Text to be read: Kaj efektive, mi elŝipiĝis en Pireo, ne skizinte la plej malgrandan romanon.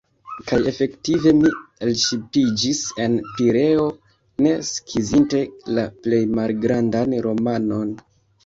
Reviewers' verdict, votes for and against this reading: rejected, 1, 2